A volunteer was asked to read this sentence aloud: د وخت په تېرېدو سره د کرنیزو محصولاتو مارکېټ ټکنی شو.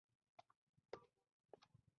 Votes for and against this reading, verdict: 0, 2, rejected